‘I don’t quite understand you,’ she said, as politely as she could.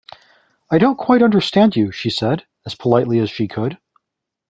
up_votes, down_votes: 2, 0